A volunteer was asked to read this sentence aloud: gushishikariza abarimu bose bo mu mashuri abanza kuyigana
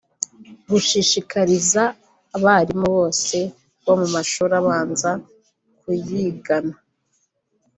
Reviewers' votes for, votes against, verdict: 1, 2, rejected